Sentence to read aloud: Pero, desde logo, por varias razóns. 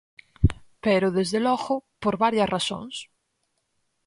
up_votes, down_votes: 4, 0